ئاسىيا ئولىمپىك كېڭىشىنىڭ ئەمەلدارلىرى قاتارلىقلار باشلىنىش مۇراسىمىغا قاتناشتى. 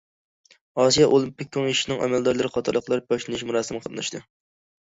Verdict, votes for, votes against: accepted, 2, 1